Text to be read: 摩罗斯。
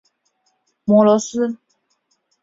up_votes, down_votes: 2, 0